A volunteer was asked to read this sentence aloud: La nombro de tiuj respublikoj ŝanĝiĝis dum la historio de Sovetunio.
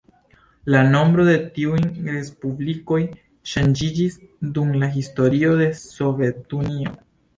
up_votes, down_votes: 3, 0